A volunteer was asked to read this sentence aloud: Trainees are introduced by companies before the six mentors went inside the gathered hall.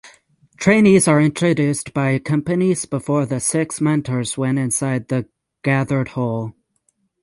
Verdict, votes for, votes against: accepted, 6, 0